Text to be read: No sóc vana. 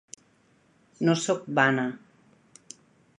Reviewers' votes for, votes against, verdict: 2, 0, accepted